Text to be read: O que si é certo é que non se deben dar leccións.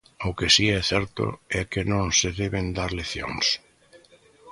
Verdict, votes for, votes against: rejected, 0, 2